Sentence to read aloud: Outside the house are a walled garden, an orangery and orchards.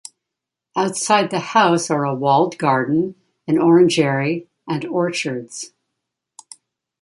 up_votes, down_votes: 2, 0